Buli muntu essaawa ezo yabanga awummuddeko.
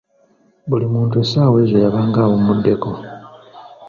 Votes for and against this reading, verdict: 2, 0, accepted